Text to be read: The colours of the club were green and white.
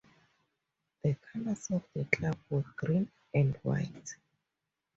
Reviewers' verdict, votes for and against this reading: rejected, 2, 4